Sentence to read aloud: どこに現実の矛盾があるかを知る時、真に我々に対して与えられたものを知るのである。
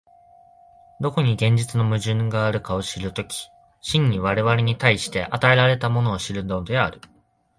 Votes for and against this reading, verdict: 2, 0, accepted